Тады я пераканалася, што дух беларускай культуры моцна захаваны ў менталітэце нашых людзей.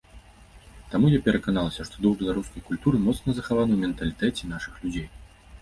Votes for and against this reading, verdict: 1, 2, rejected